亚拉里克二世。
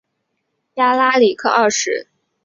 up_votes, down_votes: 5, 0